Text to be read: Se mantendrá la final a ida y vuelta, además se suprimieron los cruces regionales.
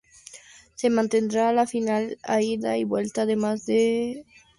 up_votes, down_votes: 0, 2